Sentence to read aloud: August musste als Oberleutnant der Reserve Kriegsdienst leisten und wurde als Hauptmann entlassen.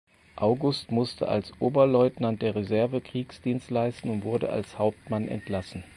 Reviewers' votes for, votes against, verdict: 4, 0, accepted